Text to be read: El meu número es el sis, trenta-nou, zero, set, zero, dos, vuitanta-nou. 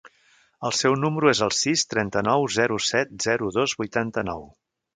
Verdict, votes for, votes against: rejected, 0, 2